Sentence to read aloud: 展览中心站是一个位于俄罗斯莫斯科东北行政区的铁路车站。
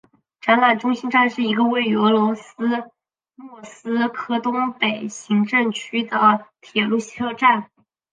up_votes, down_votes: 2, 0